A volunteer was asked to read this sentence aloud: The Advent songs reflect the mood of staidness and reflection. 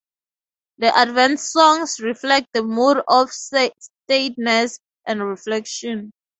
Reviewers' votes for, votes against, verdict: 0, 2, rejected